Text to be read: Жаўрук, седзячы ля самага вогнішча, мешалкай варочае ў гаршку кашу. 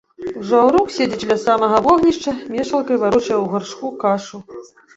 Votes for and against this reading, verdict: 1, 2, rejected